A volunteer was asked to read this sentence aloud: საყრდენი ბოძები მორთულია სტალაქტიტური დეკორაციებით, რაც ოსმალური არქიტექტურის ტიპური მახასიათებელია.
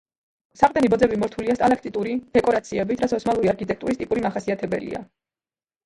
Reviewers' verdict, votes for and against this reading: rejected, 1, 2